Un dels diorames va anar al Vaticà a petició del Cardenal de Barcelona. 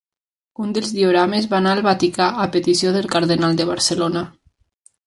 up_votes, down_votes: 3, 0